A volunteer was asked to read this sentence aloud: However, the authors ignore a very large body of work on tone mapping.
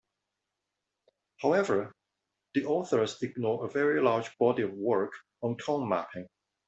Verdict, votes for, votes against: accepted, 2, 1